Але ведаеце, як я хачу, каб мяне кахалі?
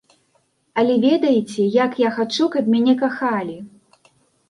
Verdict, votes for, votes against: accepted, 2, 0